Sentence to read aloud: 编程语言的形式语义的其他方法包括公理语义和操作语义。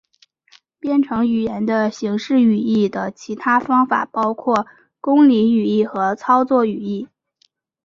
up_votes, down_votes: 3, 0